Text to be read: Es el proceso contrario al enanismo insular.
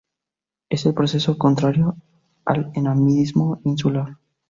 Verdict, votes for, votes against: accepted, 4, 0